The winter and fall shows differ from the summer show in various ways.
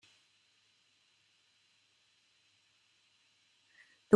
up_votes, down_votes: 0, 2